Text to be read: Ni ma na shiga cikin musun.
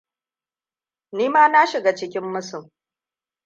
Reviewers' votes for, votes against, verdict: 2, 0, accepted